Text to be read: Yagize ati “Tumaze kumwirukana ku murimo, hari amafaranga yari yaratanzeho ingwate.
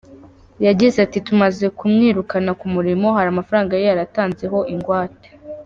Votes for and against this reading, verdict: 1, 2, rejected